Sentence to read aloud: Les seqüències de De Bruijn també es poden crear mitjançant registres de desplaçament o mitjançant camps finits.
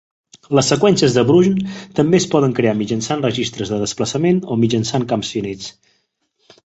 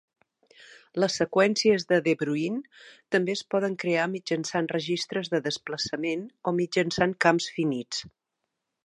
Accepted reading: second